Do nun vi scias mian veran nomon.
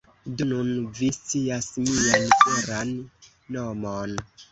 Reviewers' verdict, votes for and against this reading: rejected, 1, 2